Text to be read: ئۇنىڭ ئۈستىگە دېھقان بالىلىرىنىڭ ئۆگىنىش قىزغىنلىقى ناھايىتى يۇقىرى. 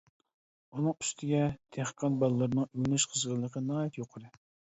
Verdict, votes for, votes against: accepted, 2, 0